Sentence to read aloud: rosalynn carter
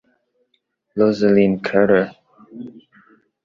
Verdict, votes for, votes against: rejected, 1, 2